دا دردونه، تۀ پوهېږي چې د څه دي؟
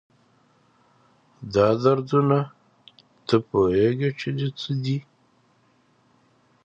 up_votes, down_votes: 2, 0